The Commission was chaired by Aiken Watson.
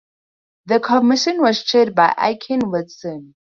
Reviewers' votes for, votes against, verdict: 8, 2, accepted